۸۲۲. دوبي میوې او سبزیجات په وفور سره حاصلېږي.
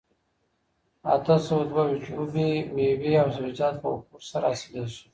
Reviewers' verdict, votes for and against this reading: rejected, 0, 2